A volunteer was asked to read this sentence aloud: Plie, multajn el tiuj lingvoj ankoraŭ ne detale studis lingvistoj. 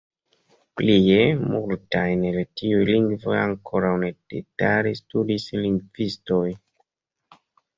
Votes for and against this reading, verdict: 1, 2, rejected